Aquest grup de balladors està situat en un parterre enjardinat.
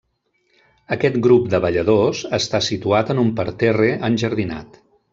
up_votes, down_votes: 3, 0